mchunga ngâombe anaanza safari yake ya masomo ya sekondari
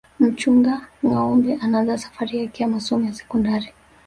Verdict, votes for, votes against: accepted, 2, 0